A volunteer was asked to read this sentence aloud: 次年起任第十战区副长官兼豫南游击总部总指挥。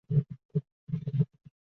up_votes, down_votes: 1, 3